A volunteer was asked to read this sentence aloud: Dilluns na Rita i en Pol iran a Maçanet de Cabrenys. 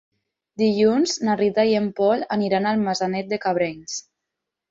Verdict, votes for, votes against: rejected, 0, 4